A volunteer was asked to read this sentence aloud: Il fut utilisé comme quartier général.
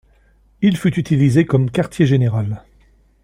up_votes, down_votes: 2, 0